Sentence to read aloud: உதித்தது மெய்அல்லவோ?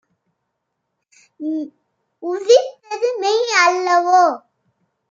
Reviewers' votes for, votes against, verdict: 2, 0, accepted